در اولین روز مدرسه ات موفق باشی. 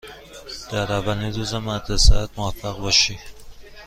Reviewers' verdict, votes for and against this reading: accepted, 2, 0